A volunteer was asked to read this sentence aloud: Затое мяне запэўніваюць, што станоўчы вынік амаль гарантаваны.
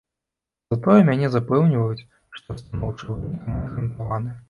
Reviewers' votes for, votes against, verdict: 1, 2, rejected